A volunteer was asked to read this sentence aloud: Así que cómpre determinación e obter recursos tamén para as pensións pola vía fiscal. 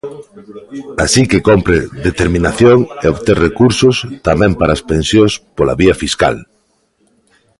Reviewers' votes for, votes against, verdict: 1, 2, rejected